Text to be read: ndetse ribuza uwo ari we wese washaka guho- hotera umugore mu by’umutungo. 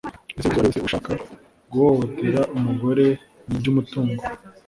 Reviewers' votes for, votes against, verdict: 0, 2, rejected